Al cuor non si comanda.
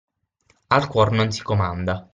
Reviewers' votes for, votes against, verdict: 6, 0, accepted